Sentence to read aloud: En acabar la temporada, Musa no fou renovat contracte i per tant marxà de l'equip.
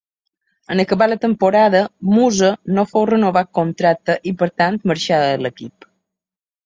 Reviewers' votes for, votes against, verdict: 2, 0, accepted